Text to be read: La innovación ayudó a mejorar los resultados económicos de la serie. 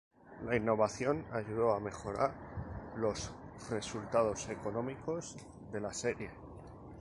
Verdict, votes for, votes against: rejected, 2, 2